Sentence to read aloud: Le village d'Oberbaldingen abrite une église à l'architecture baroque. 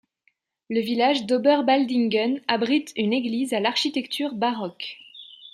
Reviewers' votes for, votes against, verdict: 2, 0, accepted